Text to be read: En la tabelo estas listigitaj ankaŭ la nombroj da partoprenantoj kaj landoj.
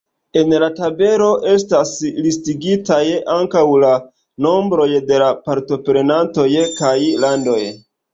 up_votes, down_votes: 0, 2